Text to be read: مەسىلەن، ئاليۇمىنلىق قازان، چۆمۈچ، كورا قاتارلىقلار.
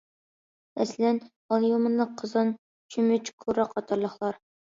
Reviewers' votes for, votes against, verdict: 0, 2, rejected